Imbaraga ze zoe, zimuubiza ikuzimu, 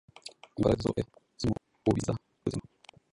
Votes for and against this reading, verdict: 1, 2, rejected